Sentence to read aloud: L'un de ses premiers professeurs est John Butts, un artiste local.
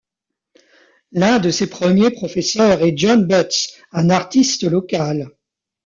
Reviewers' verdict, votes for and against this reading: accepted, 2, 0